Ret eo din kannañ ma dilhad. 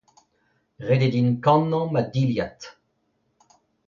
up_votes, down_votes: 2, 0